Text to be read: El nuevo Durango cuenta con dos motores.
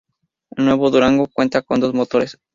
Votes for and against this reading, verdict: 2, 2, rejected